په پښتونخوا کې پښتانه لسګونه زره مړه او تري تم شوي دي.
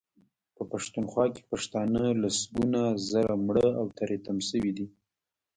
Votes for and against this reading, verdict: 1, 2, rejected